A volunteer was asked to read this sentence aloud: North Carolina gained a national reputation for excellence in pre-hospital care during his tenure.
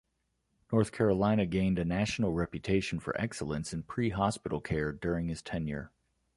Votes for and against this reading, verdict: 2, 0, accepted